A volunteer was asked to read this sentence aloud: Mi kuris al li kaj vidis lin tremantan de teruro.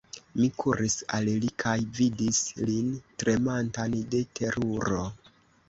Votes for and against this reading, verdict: 2, 1, accepted